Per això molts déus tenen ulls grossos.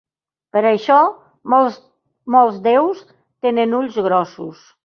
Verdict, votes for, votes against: rejected, 0, 3